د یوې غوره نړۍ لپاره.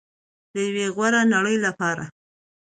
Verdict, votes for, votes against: accepted, 2, 0